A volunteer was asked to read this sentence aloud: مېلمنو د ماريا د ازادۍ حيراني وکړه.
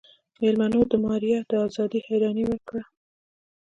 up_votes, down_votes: 2, 1